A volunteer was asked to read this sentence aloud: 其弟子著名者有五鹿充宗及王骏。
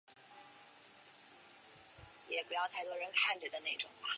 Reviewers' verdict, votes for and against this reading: rejected, 0, 2